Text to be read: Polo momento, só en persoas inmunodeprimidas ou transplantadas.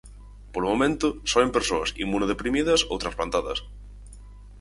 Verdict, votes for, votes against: accepted, 4, 0